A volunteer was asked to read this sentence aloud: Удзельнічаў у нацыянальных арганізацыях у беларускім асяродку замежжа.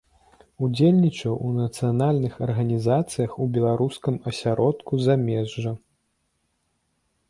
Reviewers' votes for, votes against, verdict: 0, 2, rejected